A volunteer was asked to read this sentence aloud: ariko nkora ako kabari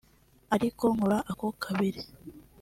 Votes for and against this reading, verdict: 0, 2, rejected